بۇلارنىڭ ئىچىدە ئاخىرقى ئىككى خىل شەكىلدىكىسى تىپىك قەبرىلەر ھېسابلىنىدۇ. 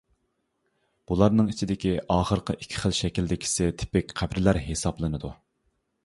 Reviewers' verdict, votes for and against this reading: rejected, 0, 2